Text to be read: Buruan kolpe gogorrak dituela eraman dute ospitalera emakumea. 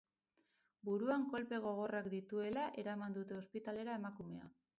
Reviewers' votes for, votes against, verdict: 2, 6, rejected